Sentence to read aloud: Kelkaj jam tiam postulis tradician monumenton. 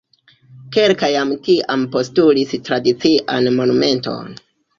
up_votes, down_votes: 1, 2